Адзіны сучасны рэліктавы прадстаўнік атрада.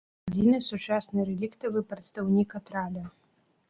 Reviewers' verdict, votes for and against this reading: accepted, 2, 1